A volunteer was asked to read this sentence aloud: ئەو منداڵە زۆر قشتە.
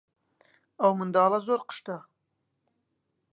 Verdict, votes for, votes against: accepted, 3, 0